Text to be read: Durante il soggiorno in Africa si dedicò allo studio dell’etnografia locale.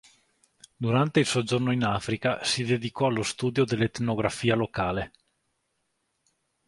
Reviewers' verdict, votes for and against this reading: accepted, 2, 0